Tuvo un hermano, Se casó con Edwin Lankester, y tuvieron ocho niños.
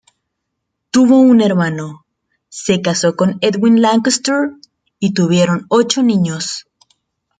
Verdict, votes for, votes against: accepted, 2, 1